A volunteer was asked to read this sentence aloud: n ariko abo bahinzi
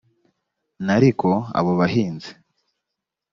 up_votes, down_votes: 2, 0